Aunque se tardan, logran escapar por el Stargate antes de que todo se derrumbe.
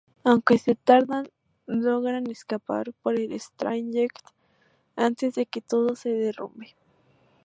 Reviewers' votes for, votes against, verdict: 2, 0, accepted